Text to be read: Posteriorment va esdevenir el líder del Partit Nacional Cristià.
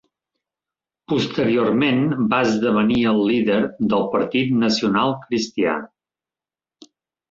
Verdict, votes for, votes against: rejected, 0, 2